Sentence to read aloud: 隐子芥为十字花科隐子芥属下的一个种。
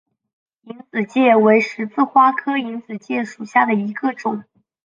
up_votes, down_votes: 2, 0